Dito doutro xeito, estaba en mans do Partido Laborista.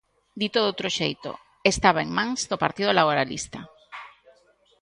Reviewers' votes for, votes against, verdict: 0, 2, rejected